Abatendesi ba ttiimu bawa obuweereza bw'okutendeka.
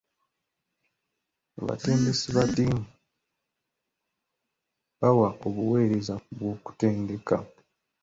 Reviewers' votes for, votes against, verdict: 2, 1, accepted